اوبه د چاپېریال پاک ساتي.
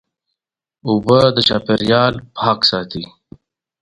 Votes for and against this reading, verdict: 2, 0, accepted